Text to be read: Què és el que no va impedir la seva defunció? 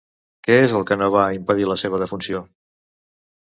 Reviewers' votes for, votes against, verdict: 2, 0, accepted